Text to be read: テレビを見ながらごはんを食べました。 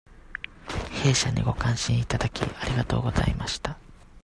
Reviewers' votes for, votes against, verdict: 0, 2, rejected